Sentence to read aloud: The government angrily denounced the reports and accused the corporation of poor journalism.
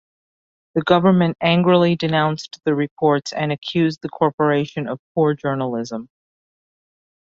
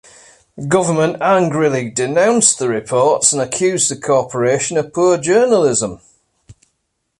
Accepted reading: first